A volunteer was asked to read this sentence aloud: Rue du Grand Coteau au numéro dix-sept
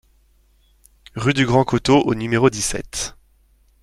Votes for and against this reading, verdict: 2, 0, accepted